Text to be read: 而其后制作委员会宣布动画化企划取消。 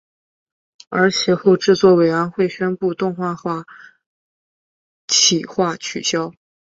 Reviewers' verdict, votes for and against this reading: rejected, 1, 2